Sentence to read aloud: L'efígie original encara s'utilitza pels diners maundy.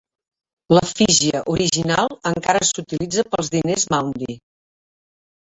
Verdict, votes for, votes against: accepted, 2, 1